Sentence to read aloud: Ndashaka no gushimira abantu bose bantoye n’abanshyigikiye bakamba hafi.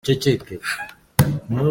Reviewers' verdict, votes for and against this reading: rejected, 0, 2